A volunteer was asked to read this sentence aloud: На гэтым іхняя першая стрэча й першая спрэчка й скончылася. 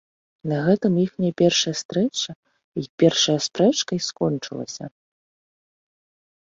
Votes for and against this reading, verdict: 2, 1, accepted